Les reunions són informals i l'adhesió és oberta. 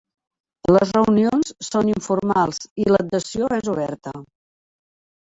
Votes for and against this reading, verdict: 1, 2, rejected